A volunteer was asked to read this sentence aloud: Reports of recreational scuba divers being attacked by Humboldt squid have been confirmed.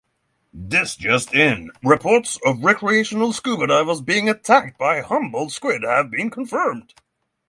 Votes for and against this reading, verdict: 3, 3, rejected